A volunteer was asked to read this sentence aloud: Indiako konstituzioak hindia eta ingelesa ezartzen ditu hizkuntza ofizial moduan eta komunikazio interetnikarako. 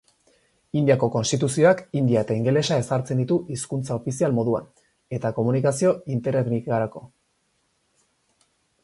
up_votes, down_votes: 2, 0